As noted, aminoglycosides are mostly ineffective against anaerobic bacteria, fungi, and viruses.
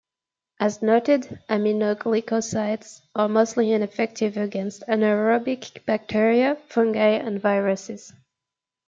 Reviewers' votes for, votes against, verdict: 2, 0, accepted